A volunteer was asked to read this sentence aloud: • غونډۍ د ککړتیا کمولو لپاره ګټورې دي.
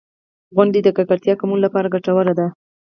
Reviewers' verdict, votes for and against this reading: rejected, 2, 4